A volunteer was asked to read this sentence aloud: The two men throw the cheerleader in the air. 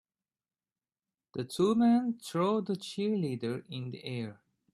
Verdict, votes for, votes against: accepted, 2, 0